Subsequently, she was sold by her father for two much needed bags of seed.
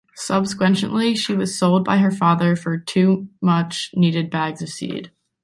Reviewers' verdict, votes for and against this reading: rejected, 0, 2